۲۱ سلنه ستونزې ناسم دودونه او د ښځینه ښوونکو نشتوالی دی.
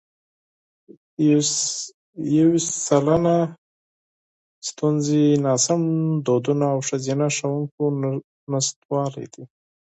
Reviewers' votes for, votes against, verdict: 0, 2, rejected